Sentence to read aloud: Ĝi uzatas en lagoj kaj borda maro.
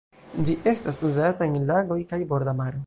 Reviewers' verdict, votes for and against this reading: rejected, 0, 2